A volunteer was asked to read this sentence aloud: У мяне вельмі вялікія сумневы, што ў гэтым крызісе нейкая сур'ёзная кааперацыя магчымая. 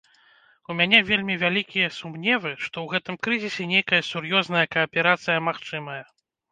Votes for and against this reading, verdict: 2, 0, accepted